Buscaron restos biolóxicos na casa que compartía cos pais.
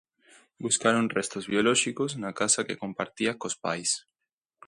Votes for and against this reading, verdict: 2, 0, accepted